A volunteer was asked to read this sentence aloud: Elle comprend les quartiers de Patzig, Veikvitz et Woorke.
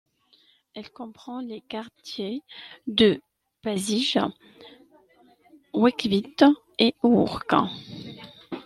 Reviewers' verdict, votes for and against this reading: rejected, 0, 2